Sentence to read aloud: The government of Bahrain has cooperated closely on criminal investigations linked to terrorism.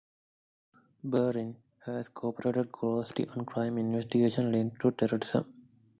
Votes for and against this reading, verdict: 1, 2, rejected